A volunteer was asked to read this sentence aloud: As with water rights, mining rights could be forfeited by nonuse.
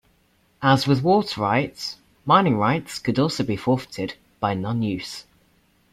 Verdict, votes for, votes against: rejected, 0, 2